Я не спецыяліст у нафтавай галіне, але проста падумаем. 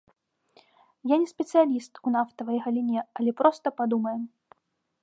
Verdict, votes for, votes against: accepted, 3, 0